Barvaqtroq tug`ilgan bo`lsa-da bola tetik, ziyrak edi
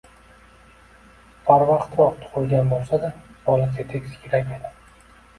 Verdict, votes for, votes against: accepted, 2, 1